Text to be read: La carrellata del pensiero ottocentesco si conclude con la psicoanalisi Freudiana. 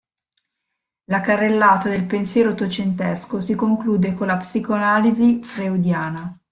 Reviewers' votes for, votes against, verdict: 0, 2, rejected